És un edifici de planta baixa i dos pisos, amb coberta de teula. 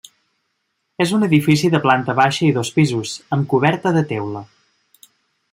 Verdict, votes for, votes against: accepted, 3, 0